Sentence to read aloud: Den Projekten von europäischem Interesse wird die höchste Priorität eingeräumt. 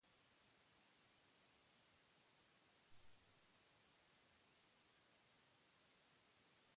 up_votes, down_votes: 0, 4